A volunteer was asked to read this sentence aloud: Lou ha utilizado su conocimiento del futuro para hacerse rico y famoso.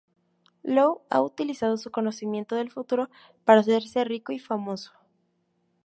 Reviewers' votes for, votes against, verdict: 2, 0, accepted